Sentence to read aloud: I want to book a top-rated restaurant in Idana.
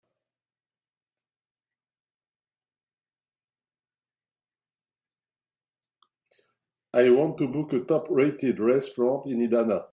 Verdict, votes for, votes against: accepted, 2, 1